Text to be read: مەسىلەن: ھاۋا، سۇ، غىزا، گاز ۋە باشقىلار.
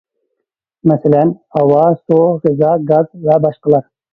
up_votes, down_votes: 0, 2